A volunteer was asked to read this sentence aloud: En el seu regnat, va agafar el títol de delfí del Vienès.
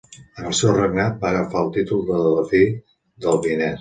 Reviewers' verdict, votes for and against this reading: accepted, 2, 0